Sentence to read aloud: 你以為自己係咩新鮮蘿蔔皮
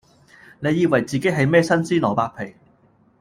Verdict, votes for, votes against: accepted, 2, 0